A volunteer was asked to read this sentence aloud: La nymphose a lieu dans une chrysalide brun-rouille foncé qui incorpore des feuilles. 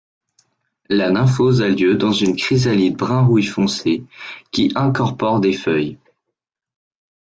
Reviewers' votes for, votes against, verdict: 2, 0, accepted